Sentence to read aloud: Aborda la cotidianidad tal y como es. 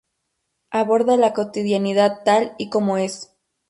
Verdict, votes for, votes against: accepted, 2, 0